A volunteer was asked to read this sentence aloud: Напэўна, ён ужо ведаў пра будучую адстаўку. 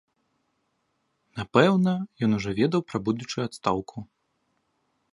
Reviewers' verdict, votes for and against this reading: accepted, 2, 0